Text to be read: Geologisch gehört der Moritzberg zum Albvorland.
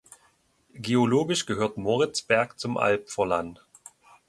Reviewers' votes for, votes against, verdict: 0, 2, rejected